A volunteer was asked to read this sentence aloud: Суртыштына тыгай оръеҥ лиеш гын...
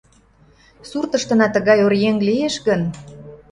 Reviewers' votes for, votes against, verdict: 2, 0, accepted